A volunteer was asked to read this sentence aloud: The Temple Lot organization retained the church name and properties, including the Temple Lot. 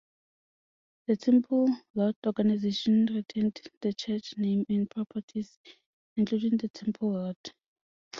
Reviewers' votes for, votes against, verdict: 2, 0, accepted